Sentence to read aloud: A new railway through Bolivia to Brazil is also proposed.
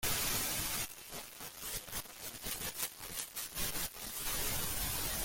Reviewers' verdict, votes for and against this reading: rejected, 0, 2